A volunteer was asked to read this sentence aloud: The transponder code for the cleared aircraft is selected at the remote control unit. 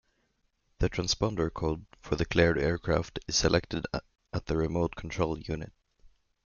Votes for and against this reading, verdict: 1, 2, rejected